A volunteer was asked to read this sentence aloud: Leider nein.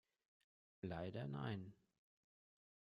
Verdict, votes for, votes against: rejected, 1, 2